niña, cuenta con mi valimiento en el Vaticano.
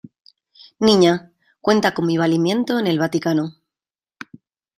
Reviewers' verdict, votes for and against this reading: accepted, 2, 0